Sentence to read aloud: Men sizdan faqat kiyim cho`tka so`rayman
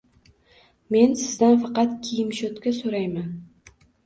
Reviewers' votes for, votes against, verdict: 1, 2, rejected